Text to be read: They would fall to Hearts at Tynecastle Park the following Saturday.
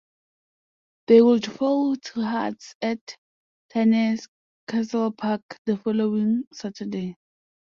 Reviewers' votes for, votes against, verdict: 1, 2, rejected